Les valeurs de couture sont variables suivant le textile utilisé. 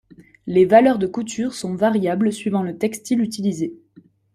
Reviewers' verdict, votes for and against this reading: accepted, 2, 0